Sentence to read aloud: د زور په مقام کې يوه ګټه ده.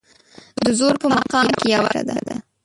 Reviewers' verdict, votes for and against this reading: rejected, 0, 2